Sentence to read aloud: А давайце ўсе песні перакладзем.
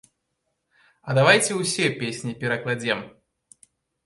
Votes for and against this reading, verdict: 2, 0, accepted